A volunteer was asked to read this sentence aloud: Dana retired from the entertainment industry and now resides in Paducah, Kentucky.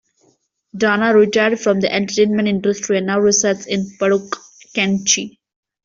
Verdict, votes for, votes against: rejected, 0, 2